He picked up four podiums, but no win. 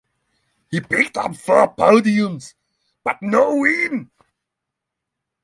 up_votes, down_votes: 3, 0